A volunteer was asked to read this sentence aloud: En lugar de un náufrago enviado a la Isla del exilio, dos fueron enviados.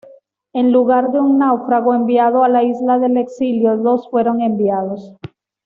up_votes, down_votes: 2, 0